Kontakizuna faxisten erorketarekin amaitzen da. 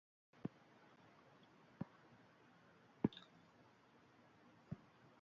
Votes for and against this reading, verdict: 0, 5, rejected